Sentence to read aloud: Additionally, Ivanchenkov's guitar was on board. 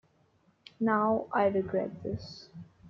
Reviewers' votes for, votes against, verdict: 0, 2, rejected